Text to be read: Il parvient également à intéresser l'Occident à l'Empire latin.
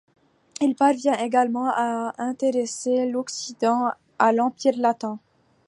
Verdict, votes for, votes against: rejected, 1, 2